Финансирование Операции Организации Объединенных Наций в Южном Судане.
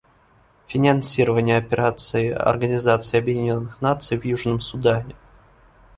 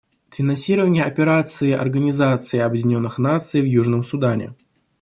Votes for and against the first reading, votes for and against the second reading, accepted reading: 1, 2, 2, 0, second